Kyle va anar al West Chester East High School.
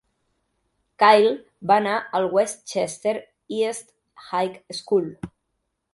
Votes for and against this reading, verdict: 2, 0, accepted